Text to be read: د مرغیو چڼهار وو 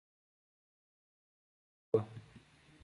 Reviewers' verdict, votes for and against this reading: rejected, 0, 4